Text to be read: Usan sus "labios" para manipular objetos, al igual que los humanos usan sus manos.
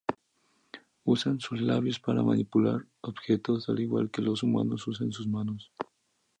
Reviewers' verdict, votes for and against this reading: accepted, 8, 0